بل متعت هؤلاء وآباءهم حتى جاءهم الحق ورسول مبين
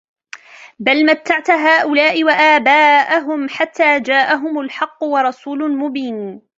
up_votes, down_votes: 0, 2